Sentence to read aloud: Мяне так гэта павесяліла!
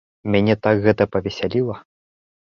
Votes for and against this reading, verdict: 2, 0, accepted